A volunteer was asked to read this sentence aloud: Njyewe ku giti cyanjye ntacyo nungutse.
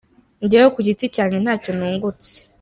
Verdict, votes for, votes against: accepted, 2, 1